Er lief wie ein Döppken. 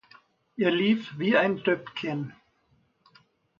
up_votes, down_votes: 2, 0